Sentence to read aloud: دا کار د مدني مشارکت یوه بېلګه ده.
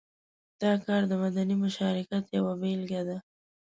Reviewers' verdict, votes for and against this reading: accepted, 2, 0